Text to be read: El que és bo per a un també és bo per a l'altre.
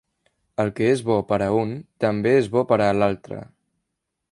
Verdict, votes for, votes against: accepted, 3, 0